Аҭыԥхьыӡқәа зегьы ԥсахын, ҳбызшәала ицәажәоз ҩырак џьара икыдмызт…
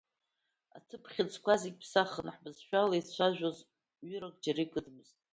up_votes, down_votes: 1, 2